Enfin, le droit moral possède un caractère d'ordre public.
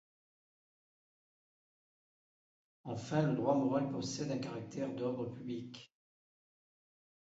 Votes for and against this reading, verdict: 1, 2, rejected